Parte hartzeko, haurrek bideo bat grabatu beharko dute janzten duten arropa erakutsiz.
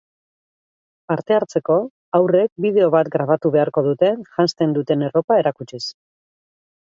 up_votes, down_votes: 2, 4